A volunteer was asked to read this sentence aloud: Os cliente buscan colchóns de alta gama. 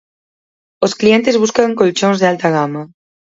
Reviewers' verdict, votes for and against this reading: accepted, 4, 0